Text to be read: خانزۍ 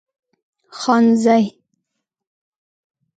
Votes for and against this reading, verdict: 1, 2, rejected